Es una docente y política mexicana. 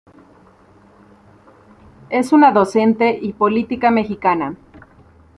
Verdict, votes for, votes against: accepted, 2, 0